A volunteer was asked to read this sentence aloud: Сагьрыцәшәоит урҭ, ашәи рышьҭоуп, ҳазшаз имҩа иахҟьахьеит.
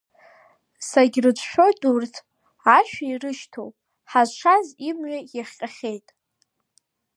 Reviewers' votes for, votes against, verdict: 0, 2, rejected